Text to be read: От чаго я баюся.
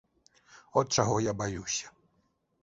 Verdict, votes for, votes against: accepted, 2, 0